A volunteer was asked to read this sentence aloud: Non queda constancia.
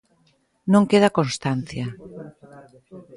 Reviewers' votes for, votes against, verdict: 1, 2, rejected